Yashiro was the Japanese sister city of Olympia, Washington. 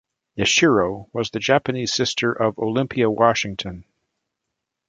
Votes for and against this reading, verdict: 1, 2, rejected